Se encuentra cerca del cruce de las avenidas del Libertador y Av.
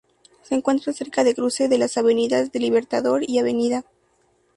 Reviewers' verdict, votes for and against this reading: accepted, 2, 0